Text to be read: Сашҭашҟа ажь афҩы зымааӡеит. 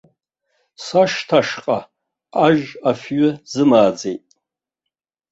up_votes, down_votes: 3, 2